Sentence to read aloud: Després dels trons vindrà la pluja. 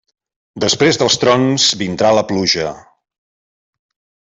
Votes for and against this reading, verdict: 2, 0, accepted